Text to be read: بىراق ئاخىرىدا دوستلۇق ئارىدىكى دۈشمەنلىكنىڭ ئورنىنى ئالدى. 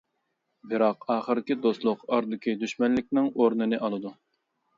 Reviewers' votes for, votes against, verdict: 0, 2, rejected